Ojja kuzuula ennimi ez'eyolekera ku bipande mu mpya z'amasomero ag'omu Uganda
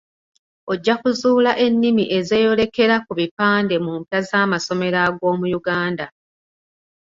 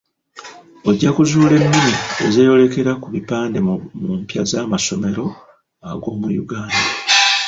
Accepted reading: first